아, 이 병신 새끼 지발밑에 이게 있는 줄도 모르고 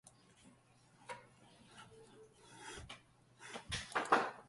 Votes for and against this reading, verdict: 0, 2, rejected